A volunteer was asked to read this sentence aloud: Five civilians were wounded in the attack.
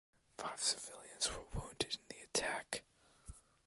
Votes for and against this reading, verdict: 2, 1, accepted